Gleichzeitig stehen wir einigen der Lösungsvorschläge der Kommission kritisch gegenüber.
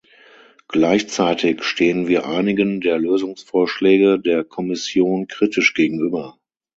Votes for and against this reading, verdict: 6, 0, accepted